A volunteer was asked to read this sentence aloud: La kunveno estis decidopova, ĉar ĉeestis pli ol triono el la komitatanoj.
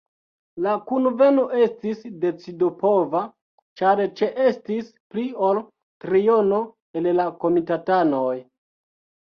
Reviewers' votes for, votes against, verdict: 0, 2, rejected